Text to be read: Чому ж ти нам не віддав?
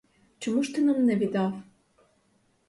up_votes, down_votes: 2, 2